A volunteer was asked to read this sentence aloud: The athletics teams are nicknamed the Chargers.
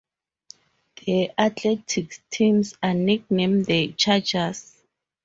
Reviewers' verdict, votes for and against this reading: rejected, 2, 4